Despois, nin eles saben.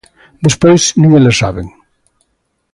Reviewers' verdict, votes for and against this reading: accepted, 2, 0